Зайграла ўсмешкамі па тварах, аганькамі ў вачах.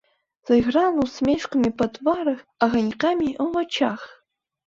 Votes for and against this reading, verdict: 2, 1, accepted